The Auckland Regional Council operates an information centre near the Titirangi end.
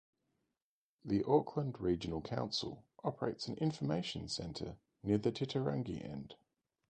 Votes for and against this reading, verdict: 2, 2, rejected